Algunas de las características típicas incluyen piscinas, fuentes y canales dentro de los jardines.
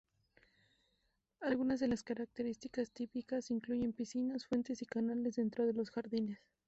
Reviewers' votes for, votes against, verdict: 0, 2, rejected